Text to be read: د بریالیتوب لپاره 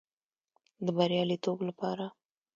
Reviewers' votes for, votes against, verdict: 2, 0, accepted